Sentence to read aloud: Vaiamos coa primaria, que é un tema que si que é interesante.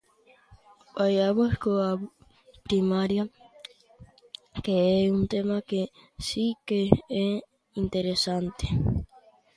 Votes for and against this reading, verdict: 1, 2, rejected